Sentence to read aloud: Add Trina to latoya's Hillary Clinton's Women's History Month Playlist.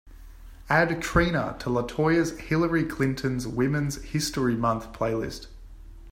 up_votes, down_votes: 3, 0